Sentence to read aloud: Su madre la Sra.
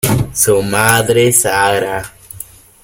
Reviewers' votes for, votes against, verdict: 0, 2, rejected